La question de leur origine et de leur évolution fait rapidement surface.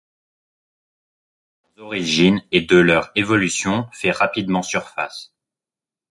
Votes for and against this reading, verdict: 2, 1, accepted